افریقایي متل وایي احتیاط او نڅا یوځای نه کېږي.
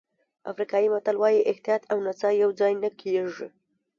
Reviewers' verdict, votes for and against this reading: accepted, 2, 0